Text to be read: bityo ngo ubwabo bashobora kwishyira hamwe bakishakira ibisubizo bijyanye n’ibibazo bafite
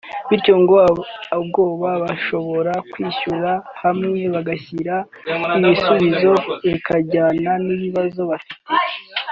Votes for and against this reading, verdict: 0, 2, rejected